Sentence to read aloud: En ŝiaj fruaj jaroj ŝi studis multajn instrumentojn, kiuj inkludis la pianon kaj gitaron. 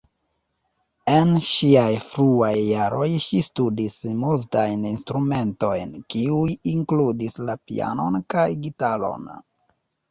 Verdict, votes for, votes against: rejected, 0, 2